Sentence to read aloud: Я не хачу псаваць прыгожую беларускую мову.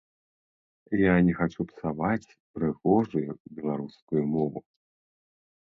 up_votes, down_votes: 2, 0